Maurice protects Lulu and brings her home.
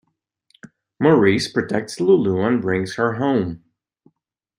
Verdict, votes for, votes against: accepted, 2, 0